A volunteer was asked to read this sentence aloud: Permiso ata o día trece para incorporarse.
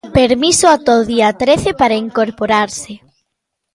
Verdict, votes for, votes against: accepted, 2, 0